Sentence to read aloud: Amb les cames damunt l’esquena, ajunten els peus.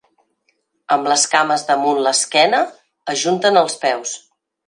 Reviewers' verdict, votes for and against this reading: accepted, 4, 0